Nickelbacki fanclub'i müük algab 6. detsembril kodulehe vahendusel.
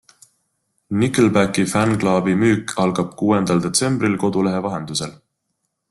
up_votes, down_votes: 0, 2